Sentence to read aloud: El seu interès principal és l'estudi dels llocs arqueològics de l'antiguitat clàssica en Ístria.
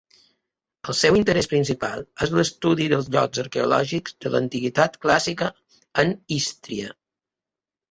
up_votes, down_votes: 2, 0